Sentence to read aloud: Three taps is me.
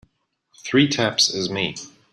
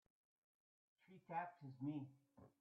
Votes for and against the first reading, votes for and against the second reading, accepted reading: 2, 0, 1, 2, first